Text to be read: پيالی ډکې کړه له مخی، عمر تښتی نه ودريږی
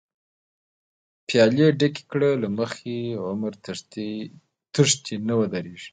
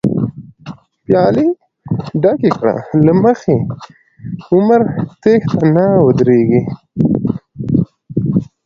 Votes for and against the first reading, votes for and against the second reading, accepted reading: 0, 2, 2, 0, second